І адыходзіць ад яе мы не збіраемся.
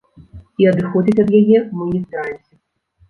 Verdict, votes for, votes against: rejected, 1, 2